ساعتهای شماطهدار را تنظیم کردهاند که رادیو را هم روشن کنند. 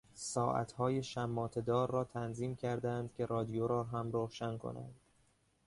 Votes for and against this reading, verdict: 2, 1, accepted